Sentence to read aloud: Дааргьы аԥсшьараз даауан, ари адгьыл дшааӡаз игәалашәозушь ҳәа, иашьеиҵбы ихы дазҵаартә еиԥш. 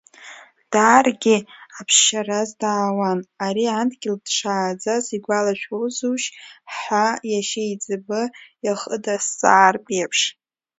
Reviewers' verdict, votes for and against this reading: accepted, 2, 0